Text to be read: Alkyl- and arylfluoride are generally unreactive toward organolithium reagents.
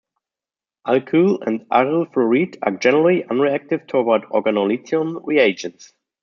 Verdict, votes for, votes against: rejected, 0, 2